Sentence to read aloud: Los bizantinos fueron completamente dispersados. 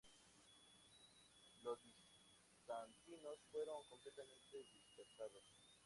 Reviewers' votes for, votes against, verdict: 0, 2, rejected